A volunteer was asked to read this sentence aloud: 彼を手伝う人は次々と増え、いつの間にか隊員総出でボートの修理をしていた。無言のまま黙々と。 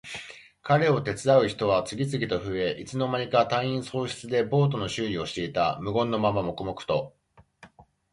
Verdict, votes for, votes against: accepted, 2, 0